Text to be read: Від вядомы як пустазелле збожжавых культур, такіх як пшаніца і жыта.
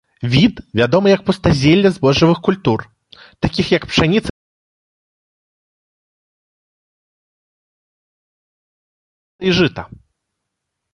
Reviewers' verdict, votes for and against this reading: rejected, 0, 2